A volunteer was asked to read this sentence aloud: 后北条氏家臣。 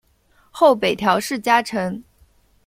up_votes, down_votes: 2, 0